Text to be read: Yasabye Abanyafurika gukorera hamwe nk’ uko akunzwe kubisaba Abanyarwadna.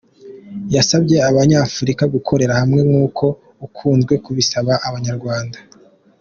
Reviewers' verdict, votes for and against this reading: accepted, 2, 0